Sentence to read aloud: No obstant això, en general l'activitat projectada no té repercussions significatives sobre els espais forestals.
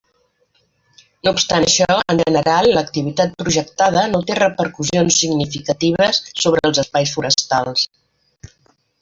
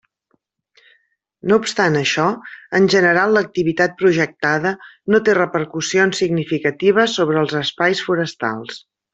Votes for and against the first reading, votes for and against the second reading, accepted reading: 1, 2, 2, 0, second